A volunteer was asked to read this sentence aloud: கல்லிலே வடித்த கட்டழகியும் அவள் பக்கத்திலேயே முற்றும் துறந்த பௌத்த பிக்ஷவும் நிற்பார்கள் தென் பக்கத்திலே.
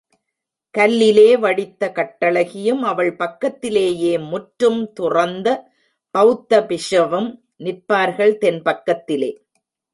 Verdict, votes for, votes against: rejected, 0, 2